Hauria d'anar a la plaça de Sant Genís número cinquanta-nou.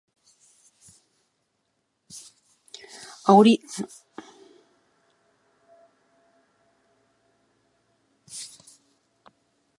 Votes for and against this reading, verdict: 0, 2, rejected